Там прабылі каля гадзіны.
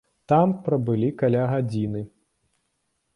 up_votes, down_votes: 2, 0